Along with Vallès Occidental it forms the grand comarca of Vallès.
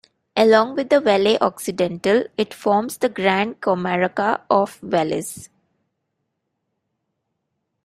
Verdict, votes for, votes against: rejected, 1, 2